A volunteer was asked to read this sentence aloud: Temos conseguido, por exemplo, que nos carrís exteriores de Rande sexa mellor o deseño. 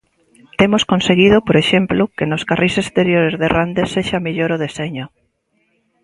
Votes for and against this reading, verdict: 2, 0, accepted